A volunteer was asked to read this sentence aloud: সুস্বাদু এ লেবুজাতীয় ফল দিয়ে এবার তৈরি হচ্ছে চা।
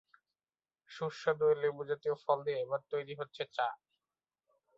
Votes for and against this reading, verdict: 1, 2, rejected